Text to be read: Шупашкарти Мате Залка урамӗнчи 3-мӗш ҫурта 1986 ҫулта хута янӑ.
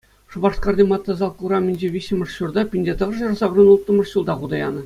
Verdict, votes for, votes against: rejected, 0, 2